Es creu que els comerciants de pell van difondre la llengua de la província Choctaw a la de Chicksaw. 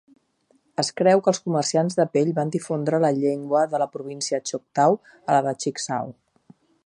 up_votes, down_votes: 4, 0